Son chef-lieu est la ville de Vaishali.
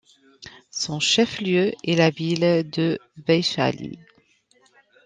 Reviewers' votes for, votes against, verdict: 2, 0, accepted